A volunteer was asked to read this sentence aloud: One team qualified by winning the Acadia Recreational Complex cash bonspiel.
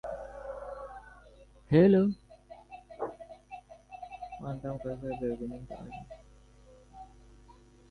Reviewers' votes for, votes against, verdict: 0, 2, rejected